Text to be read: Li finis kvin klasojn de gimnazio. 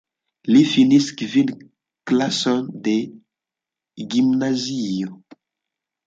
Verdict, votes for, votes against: rejected, 0, 2